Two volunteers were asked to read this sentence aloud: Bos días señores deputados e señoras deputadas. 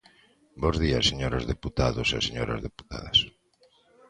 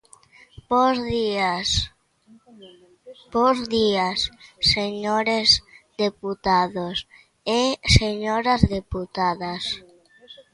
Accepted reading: first